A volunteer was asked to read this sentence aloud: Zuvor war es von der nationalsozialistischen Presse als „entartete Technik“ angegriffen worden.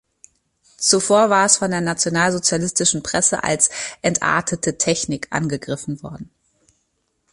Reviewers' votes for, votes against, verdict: 2, 0, accepted